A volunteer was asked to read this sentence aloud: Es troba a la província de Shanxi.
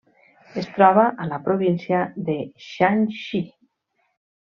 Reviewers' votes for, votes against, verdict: 3, 0, accepted